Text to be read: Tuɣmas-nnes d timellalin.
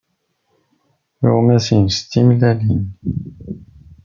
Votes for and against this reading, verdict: 2, 0, accepted